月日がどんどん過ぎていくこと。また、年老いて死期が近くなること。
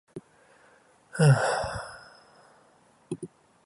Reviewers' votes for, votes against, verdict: 0, 2, rejected